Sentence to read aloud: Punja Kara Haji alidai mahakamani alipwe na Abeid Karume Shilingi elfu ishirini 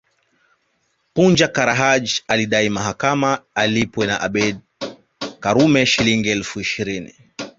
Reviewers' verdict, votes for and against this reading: accepted, 2, 1